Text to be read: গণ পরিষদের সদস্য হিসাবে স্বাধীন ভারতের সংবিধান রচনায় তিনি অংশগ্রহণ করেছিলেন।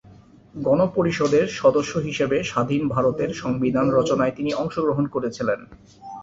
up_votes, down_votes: 2, 1